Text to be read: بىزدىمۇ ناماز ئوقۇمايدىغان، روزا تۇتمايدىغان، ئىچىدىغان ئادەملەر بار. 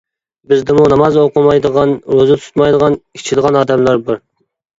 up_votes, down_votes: 2, 0